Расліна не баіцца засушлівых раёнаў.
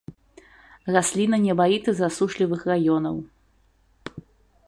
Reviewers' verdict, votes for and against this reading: rejected, 1, 2